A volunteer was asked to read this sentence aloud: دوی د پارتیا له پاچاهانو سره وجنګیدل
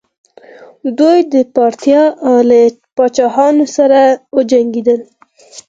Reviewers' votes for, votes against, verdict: 4, 0, accepted